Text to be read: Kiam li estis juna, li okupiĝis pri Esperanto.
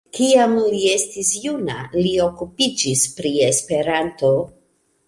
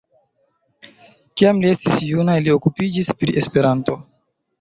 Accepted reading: first